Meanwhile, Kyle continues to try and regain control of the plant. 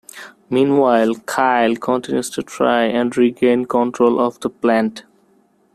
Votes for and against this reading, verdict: 1, 2, rejected